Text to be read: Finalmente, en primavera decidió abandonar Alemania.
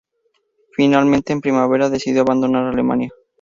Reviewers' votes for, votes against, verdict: 0, 2, rejected